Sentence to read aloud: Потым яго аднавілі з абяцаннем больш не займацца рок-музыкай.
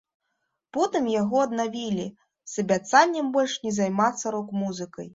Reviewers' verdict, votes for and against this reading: accepted, 2, 0